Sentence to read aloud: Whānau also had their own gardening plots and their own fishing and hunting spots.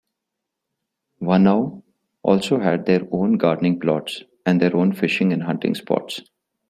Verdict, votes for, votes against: accepted, 2, 1